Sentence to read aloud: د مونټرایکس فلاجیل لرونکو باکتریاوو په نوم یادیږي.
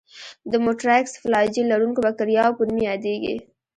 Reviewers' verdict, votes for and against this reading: rejected, 1, 2